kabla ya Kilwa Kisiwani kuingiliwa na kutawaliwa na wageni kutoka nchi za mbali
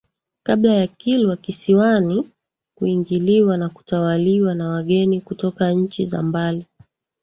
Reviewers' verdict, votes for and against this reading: accepted, 2, 1